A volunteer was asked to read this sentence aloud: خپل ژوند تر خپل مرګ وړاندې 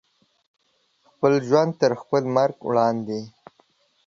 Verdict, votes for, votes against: accepted, 2, 0